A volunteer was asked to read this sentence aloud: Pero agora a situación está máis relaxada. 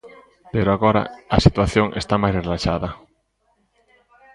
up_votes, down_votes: 2, 1